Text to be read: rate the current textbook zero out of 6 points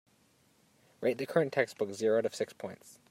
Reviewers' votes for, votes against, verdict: 0, 2, rejected